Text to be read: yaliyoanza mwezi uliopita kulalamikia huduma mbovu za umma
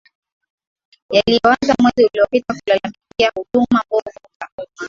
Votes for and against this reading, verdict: 0, 2, rejected